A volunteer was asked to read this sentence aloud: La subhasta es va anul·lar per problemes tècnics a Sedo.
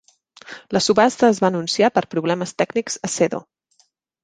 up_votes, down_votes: 0, 2